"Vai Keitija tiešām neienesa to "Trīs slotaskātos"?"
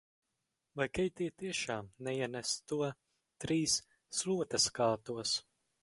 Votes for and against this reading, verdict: 4, 0, accepted